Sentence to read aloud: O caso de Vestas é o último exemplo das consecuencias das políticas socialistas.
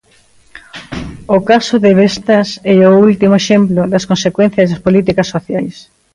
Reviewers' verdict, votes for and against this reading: rejected, 0, 2